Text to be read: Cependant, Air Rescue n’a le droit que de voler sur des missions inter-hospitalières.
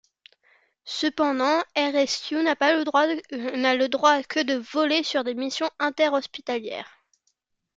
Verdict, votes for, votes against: rejected, 0, 2